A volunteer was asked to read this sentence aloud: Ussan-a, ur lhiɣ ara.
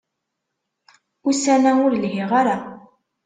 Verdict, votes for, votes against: accepted, 2, 0